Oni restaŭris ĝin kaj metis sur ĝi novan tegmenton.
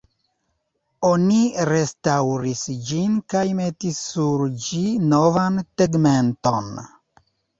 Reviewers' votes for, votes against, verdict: 2, 1, accepted